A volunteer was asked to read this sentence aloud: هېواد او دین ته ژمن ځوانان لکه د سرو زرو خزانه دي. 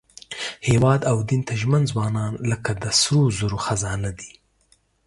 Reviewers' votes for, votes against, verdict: 2, 0, accepted